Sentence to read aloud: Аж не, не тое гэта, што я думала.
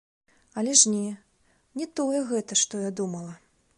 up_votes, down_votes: 1, 2